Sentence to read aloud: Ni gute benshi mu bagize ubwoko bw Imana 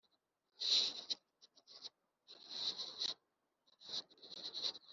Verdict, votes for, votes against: rejected, 0, 3